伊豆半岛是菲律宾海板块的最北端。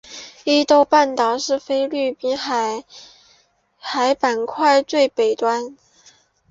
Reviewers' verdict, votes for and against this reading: rejected, 2, 3